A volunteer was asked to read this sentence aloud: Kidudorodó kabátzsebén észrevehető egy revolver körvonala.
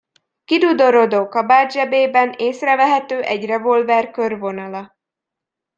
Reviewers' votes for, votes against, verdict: 1, 2, rejected